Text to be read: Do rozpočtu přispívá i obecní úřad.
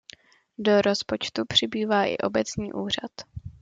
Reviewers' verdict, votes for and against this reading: rejected, 0, 2